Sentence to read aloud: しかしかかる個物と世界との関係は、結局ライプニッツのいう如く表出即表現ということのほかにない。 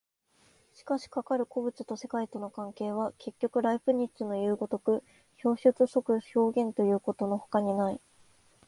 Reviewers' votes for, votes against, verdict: 2, 0, accepted